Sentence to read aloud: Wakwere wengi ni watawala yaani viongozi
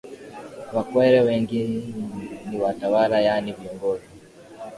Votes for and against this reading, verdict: 4, 1, accepted